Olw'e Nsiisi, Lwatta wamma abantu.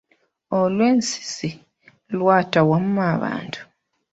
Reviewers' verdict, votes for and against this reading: rejected, 1, 2